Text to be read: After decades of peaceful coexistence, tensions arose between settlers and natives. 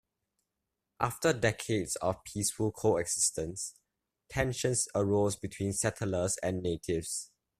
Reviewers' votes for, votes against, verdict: 2, 0, accepted